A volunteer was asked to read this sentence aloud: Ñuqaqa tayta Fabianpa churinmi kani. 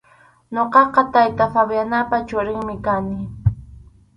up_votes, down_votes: 0, 2